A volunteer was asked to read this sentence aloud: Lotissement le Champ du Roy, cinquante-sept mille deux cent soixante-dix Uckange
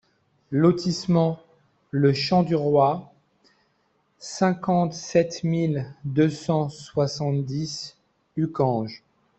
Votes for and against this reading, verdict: 2, 1, accepted